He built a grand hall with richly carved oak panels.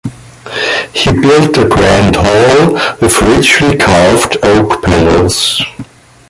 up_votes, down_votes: 1, 2